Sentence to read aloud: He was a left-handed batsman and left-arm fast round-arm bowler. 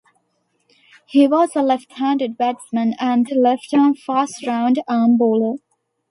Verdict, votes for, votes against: accepted, 2, 0